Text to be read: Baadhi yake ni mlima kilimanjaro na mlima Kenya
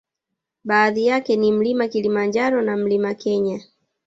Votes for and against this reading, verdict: 2, 0, accepted